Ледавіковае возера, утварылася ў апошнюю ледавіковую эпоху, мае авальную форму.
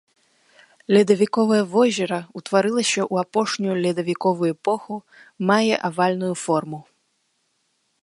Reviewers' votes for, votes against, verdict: 1, 2, rejected